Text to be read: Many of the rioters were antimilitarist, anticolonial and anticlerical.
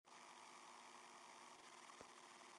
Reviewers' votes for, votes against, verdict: 0, 2, rejected